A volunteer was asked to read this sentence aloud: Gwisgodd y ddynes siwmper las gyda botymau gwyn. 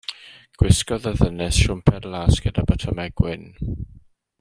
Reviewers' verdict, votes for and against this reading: accepted, 2, 0